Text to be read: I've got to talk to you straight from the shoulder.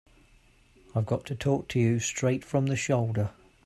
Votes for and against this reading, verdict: 2, 0, accepted